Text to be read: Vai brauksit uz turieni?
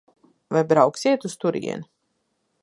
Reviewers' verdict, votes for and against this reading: rejected, 0, 2